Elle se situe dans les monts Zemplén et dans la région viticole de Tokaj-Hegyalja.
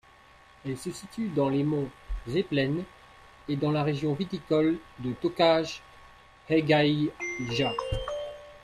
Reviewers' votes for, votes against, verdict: 1, 2, rejected